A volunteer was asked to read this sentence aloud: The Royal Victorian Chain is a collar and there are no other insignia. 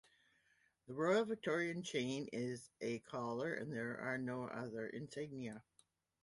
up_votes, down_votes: 1, 2